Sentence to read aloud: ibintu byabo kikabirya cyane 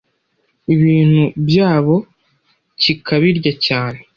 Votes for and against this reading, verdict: 2, 0, accepted